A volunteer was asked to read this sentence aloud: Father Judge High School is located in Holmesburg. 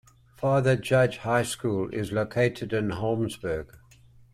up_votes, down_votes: 2, 0